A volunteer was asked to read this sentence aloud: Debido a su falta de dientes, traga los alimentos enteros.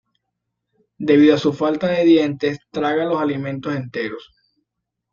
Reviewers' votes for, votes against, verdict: 2, 0, accepted